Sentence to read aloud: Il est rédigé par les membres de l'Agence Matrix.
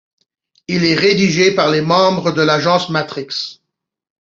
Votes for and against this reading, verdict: 2, 0, accepted